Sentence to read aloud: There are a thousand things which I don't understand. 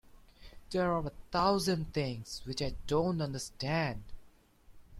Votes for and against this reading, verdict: 2, 0, accepted